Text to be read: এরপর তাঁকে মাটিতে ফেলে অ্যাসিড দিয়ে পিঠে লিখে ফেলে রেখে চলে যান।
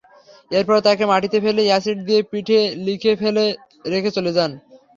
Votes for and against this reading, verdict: 0, 3, rejected